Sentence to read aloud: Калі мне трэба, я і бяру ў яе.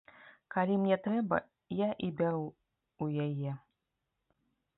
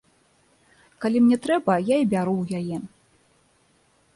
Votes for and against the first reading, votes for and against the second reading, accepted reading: 1, 2, 2, 0, second